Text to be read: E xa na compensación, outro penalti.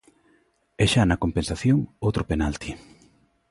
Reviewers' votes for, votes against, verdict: 2, 0, accepted